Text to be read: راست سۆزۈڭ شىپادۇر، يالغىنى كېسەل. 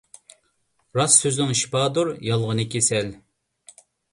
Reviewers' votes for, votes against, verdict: 2, 0, accepted